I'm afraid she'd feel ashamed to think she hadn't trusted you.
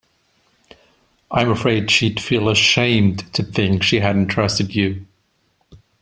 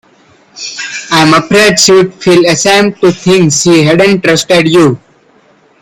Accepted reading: first